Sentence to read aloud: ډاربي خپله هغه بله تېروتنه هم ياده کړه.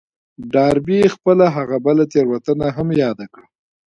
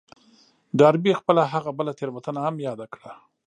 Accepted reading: first